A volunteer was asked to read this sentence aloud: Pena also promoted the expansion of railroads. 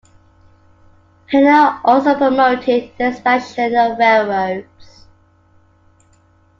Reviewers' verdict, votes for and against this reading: rejected, 0, 2